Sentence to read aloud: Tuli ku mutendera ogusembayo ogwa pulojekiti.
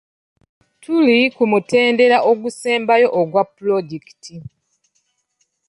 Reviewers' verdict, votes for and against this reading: accepted, 3, 0